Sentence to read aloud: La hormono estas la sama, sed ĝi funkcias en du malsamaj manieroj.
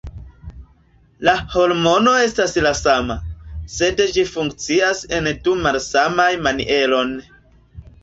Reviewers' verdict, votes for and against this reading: rejected, 0, 2